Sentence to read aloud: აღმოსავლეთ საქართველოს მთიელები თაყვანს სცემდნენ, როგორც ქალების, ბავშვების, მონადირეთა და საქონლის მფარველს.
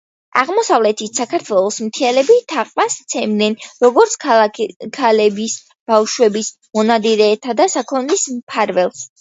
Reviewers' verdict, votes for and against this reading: accepted, 2, 1